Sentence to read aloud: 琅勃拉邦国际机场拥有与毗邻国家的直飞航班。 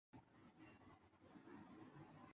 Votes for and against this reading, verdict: 0, 2, rejected